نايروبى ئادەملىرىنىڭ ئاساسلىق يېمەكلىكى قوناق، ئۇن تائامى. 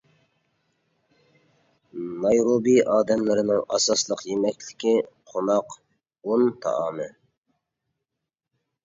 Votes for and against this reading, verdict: 2, 0, accepted